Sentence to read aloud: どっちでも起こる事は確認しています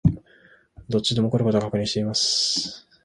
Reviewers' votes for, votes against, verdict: 2, 0, accepted